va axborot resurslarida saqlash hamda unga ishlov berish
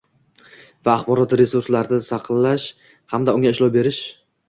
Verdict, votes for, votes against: accepted, 2, 1